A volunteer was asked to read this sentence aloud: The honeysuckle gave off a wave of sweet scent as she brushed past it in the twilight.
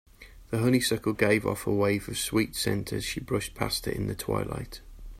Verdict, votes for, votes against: accepted, 4, 0